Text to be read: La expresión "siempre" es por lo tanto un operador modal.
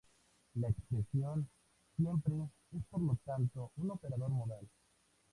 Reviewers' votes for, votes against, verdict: 2, 0, accepted